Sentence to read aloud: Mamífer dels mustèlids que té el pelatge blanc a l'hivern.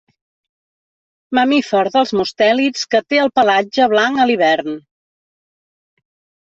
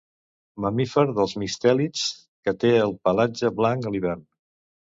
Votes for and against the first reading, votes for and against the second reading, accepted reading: 2, 0, 0, 2, first